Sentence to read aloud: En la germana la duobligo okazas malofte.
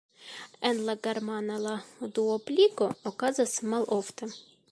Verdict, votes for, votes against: accepted, 2, 0